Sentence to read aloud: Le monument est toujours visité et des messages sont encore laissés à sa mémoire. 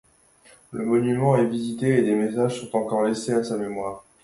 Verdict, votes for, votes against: accepted, 2, 0